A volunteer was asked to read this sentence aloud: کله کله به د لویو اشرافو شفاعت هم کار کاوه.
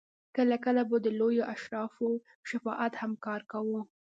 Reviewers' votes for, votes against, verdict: 0, 2, rejected